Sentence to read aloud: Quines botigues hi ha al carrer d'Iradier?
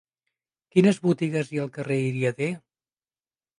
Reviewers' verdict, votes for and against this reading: rejected, 0, 2